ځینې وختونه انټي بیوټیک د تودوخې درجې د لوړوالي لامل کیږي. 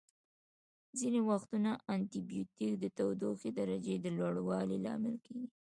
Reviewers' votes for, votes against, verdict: 0, 2, rejected